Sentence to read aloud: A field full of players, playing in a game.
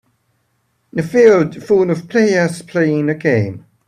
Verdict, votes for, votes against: rejected, 1, 2